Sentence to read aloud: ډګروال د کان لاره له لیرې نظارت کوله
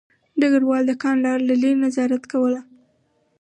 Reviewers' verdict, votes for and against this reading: rejected, 2, 2